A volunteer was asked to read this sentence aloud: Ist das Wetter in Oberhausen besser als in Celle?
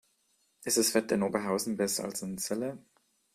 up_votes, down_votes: 3, 0